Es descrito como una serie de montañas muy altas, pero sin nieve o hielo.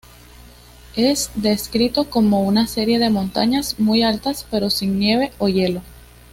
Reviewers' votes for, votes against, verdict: 2, 0, accepted